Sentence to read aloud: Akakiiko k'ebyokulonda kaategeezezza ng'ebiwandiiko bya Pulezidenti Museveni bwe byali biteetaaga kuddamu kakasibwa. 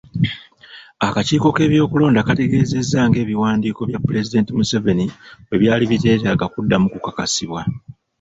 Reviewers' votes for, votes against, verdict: 2, 0, accepted